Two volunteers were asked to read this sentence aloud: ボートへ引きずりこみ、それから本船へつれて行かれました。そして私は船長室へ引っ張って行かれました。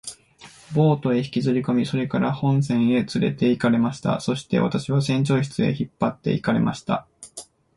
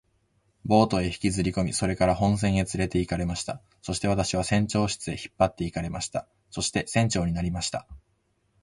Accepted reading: first